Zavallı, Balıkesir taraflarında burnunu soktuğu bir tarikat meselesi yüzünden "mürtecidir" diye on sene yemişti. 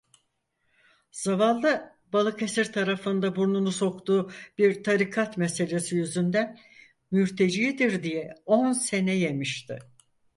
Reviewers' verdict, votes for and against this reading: rejected, 2, 4